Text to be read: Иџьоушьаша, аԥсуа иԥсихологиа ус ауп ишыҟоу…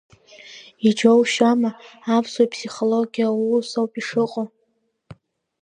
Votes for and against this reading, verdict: 0, 2, rejected